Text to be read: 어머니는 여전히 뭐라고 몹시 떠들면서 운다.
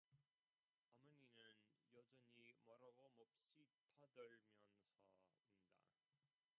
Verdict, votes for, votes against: rejected, 0, 2